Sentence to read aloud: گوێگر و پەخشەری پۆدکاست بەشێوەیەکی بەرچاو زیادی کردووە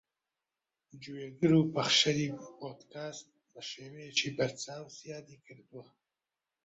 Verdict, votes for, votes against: rejected, 1, 2